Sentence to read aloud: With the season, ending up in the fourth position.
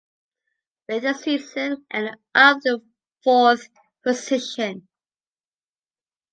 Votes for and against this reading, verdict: 1, 2, rejected